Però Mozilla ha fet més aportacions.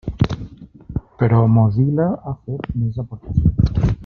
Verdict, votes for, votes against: rejected, 1, 2